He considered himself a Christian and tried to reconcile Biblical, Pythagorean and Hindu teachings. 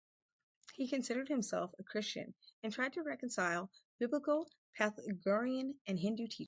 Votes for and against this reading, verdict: 2, 2, rejected